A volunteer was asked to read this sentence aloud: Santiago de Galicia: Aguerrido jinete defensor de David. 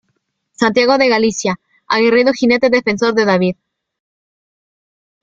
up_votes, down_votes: 2, 0